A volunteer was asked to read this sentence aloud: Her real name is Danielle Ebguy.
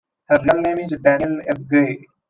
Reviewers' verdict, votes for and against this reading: accepted, 2, 1